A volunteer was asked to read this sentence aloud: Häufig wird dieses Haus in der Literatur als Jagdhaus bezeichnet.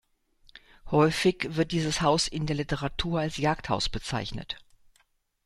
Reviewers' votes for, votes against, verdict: 2, 0, accepted